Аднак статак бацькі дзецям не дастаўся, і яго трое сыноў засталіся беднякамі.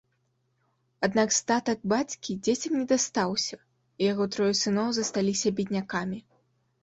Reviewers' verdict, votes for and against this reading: accepted, 2, 0